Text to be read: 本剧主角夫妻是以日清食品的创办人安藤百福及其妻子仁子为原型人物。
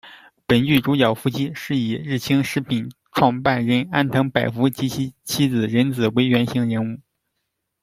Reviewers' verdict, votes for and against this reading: rejected, 1, 2